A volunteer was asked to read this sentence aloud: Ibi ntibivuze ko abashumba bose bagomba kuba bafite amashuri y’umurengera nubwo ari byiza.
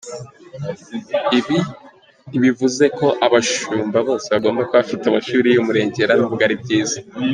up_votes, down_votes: 2, 0